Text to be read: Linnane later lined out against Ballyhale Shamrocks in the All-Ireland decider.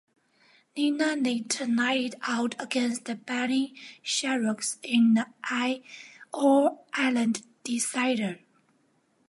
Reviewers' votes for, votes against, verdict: 0, 2, rejected